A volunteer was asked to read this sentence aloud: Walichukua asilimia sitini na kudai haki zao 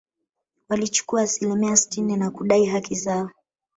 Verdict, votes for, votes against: rejected, 1, 2